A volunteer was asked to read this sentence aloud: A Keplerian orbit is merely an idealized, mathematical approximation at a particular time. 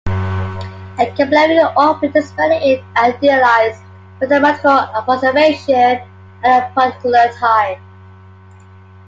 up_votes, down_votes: 2, 0